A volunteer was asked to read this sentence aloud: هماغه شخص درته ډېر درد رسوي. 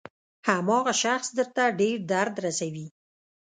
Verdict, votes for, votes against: accepted, 2, 0